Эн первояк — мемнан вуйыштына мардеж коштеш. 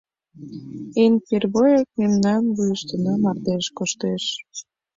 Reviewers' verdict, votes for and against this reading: accepted, 2, 0